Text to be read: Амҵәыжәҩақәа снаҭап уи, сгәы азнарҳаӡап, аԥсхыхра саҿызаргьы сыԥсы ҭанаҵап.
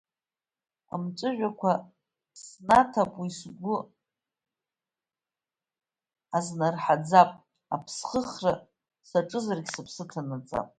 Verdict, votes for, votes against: accepted, 2, 1